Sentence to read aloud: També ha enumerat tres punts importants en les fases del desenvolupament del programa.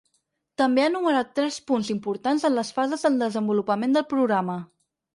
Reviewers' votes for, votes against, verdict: 4, 0, accepted